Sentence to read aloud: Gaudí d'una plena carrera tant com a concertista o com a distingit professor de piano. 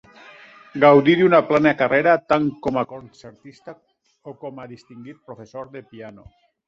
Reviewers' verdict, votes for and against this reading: accepted, 2, 1